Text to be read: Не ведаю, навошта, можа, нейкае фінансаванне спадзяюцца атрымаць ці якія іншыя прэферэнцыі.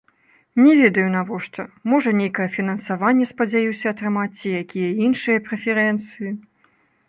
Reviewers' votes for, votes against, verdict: 1, 2, rejected